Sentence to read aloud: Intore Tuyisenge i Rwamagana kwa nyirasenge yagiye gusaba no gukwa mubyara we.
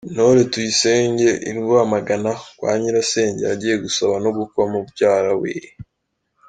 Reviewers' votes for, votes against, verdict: 2, 1, accepted